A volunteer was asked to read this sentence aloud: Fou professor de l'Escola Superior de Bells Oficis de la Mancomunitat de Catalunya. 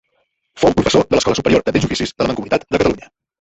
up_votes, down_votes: 1, 2